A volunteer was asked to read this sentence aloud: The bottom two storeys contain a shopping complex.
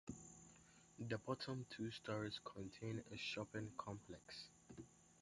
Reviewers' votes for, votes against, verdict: 0, 2, rejected